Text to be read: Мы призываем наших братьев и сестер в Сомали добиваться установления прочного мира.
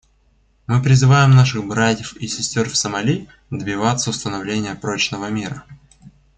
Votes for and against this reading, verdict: 2, 0, accepted